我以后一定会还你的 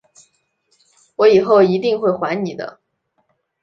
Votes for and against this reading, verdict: 2, 0, accepted